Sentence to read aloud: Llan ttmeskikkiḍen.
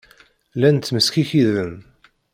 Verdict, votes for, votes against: rejected, 1, 2